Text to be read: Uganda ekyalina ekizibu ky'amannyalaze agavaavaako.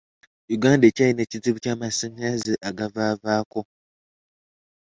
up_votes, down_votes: 1, 2